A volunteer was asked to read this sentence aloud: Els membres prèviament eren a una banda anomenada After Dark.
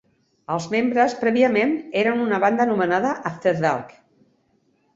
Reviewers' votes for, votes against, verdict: 1, 2, rejected